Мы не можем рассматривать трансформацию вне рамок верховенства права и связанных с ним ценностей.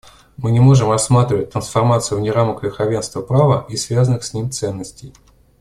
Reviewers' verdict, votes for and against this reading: accepted, 2, 0